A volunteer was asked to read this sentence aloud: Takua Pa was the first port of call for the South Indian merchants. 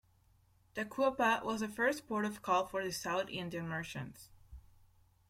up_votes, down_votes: 0, 2